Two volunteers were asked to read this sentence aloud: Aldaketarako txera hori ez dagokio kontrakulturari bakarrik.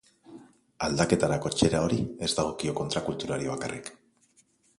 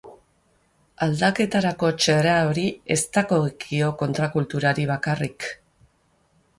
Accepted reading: first